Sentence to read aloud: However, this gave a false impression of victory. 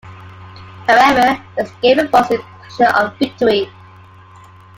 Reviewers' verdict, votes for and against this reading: accepted, 2, 1